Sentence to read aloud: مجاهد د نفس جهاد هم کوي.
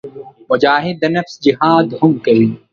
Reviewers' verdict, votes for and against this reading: accepted, 2, 0